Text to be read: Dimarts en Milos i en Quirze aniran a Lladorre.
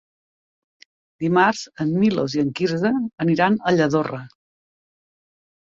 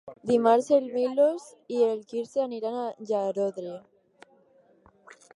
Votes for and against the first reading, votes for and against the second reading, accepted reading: 2, 0, 2, 4, first